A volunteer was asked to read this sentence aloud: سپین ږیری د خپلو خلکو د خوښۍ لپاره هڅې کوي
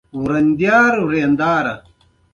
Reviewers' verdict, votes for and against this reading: rejected, 1, 2